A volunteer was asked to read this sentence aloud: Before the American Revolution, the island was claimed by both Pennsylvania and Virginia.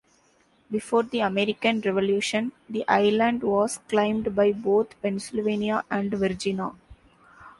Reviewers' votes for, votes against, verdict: 0, 2, rejected